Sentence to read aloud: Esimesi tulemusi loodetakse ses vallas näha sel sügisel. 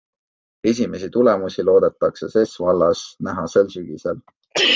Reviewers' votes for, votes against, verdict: 2, 0, accepted